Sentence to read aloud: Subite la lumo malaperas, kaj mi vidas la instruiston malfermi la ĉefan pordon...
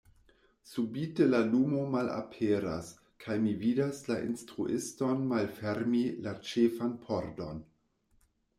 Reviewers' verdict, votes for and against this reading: accepted, 2, 0